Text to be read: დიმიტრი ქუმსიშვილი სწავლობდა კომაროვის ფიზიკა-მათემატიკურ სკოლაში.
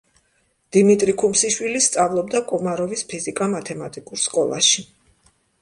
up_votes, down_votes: 2, 0